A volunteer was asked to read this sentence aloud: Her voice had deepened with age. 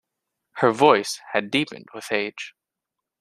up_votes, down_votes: 2, 0